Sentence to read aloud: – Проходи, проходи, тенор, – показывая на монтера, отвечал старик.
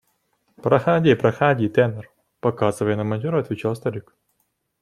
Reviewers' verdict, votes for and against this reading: accepted, 2, 0